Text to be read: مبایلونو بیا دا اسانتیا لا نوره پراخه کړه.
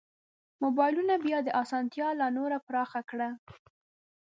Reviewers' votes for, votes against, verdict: 0, 2, rejected